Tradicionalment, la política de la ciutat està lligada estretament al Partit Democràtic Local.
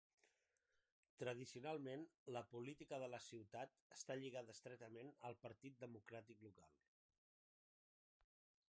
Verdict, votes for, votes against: accepted, 2, 1